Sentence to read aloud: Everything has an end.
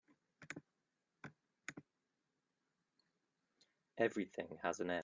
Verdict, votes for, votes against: rejected, 1, 2